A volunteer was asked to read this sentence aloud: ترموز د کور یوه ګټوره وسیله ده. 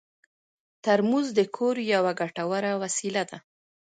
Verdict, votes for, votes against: accepted, 2, 1